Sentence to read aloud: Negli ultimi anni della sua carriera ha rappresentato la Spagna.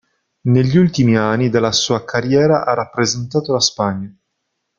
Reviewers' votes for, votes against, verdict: 0, 2, rejected